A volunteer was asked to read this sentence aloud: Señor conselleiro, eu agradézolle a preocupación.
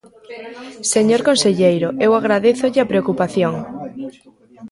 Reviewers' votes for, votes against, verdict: 2, 1, accepted